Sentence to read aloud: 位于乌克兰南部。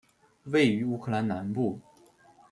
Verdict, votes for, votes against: accepted, 2, 0